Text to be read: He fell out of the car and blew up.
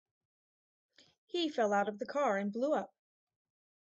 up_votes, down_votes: 2, 2